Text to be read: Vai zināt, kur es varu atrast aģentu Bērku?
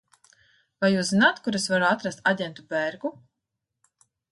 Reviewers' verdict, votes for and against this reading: rejected, 0, 2